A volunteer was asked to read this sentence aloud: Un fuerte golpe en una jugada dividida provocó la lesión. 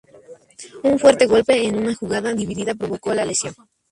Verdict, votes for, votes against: accepted, 2, 0